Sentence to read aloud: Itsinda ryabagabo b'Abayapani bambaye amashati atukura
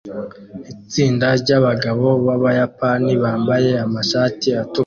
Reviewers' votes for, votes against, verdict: 0, 2, rejected